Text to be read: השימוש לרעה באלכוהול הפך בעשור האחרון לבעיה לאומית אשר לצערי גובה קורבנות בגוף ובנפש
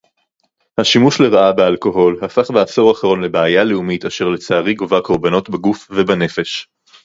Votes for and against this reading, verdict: 4, 0, accepted